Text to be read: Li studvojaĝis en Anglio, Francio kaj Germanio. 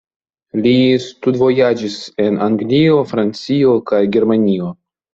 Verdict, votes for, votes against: accepted, 2, 0